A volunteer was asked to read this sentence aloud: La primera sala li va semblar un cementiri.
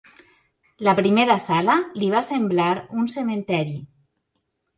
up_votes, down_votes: 1, 2